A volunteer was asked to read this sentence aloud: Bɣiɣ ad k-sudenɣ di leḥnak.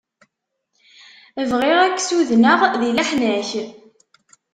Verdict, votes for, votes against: accepted, 2, 0